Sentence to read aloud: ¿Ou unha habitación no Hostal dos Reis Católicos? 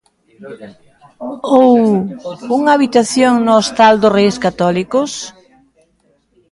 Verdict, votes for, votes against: accepted, 2, 0